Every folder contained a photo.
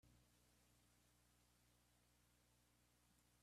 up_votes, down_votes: 0, 2